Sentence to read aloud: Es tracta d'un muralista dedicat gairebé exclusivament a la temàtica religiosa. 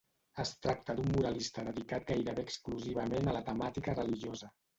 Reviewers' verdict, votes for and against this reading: rejected, 1, 2